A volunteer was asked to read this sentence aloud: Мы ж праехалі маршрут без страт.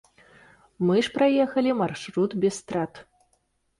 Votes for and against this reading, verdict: 1, 2, rejected